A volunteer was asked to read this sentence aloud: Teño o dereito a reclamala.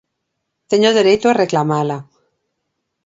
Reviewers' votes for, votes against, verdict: 2, 0, accepted